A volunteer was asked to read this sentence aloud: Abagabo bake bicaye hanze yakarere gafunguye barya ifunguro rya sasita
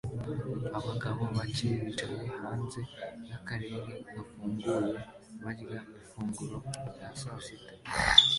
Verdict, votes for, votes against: rejected, 0, 2